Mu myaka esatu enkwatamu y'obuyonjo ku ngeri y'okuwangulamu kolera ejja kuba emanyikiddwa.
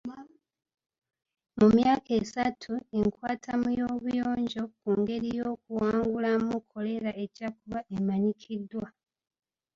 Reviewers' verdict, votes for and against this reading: rejected, 1, 2